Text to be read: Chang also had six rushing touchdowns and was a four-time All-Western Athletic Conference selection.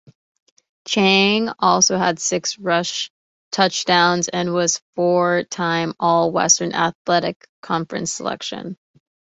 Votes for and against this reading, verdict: 0, 2, rejected